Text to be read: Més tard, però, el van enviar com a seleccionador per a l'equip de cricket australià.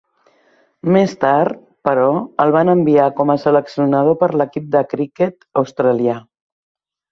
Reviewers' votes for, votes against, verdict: 0, 2, rejected